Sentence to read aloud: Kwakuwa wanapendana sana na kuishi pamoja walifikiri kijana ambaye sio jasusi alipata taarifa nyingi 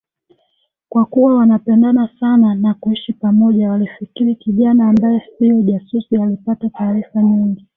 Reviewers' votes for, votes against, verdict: 1, 2, rejected